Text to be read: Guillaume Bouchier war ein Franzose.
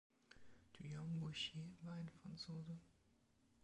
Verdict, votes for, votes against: rejected, 0, 2